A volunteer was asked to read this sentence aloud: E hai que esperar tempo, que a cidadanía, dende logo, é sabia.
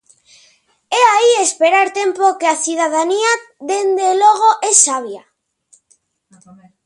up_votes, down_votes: 0, 2